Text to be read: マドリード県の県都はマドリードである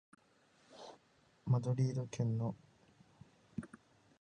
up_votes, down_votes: 2, 3